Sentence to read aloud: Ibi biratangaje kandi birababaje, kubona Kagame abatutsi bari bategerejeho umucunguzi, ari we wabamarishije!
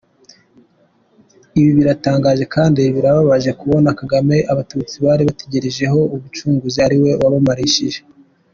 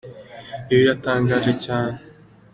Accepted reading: first